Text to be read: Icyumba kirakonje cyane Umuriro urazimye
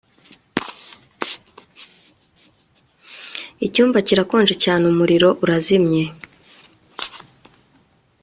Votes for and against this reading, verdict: 1, 2, rejected